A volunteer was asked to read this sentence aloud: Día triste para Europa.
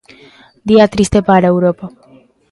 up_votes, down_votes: 2, 0